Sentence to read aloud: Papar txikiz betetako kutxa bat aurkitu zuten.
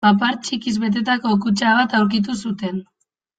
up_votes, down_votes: 2, 0